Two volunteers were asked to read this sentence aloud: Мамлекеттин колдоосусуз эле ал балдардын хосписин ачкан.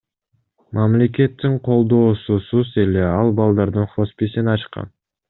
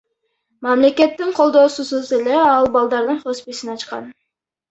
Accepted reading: first